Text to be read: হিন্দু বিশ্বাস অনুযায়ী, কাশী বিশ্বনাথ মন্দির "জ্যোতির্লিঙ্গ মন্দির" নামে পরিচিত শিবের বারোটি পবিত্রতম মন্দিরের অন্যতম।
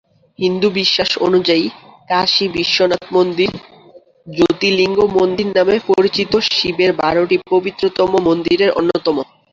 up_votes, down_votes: 2, 0